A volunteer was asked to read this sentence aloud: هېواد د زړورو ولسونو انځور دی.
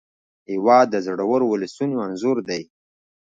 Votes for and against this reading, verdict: 0, 2, rejected